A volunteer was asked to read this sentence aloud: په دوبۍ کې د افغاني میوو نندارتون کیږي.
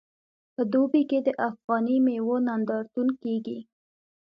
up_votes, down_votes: 2, 0